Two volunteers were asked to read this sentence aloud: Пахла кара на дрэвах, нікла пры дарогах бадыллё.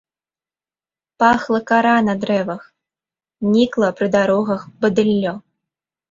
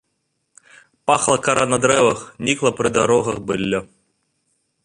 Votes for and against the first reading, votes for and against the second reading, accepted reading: 2, 0, 1, 2, first